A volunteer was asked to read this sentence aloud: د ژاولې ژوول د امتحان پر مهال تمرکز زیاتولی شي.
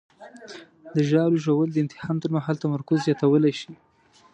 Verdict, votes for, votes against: accepted, 2, 0